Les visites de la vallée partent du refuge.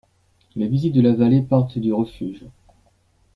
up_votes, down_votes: 2, 1